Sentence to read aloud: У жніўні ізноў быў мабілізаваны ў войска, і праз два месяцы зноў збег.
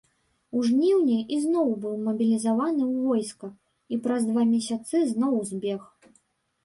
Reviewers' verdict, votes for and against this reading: rejected, 1, 2